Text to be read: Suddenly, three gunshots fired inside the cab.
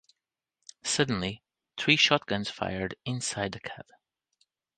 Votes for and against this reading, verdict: 0, 2, rejected